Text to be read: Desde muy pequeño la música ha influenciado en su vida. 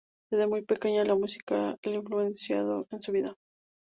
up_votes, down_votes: 4, 0